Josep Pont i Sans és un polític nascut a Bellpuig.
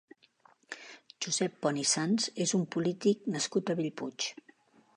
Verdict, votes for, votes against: accepted, 2, 0